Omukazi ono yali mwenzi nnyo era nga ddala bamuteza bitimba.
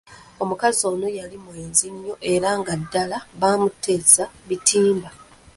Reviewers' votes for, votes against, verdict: 0, 2, rejected